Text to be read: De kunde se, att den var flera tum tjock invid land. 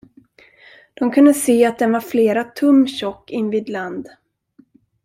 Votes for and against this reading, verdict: 2, 0, accepted